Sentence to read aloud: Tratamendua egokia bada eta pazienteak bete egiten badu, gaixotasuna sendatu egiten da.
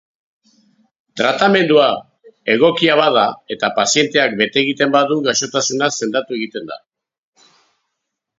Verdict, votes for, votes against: accepted, 3, 0